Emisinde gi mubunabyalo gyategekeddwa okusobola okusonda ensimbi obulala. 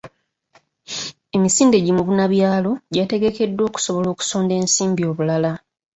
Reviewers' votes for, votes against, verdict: 2, 0, accepted